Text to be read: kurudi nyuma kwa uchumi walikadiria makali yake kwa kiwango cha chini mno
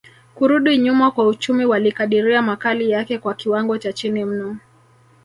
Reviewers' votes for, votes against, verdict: 2, 1, accepted